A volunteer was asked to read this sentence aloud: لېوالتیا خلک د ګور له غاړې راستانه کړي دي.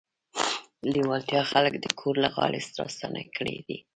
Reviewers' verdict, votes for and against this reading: rejected, 1, 2